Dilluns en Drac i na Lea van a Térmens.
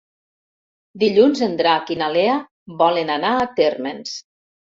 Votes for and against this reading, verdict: 1, 2, rejected